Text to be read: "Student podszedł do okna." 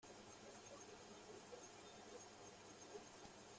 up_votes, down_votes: 0, 2